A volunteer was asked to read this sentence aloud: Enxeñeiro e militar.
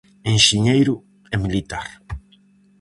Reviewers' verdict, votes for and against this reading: accepted, 4, 0